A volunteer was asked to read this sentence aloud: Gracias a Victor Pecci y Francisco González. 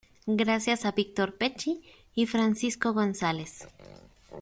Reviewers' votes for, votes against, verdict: 2, 0, accepted